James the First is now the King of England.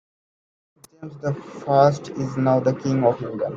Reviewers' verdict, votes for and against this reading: accepted, 2, 1